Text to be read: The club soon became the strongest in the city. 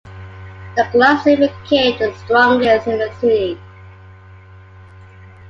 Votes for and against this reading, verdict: 2, 1, accepted